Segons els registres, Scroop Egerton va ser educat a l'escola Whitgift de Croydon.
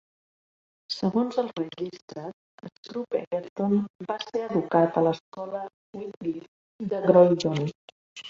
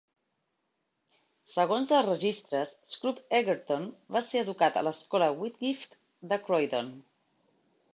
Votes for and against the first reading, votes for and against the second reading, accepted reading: 0, 2, 3, 0, second